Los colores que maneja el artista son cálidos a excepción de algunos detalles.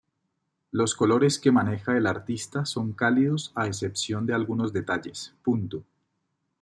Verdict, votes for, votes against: accepted, 2, 1